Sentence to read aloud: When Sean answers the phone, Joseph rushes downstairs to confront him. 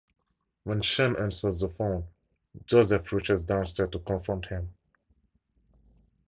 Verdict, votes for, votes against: accepted, 4, 0